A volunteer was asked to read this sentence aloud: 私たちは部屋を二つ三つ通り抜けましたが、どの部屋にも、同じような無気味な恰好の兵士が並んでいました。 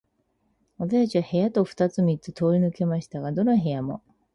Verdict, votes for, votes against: rejected, 0, 4